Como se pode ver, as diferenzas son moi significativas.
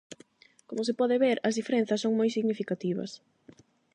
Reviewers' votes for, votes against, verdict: 8, 0, accepted